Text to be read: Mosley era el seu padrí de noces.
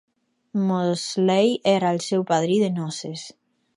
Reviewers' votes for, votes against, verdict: 4, 0, accepted